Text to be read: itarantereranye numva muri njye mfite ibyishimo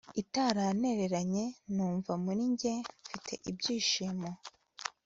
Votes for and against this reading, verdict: 4, 0, accepted